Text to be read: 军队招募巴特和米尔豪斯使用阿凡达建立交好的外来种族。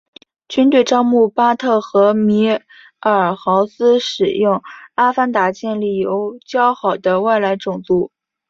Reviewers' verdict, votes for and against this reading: accepted, 3, 0